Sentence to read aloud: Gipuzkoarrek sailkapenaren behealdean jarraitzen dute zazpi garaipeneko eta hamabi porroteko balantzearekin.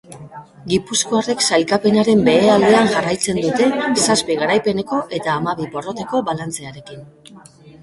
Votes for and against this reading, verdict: 1, 3, rejected